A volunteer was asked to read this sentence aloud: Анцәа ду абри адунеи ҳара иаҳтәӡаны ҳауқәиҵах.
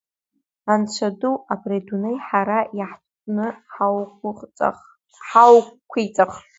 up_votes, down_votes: 1, 3